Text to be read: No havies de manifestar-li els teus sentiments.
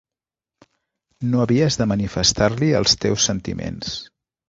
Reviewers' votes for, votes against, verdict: 3, 0, accepted